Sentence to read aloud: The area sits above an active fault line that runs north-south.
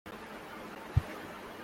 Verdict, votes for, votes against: rejected, 0, 2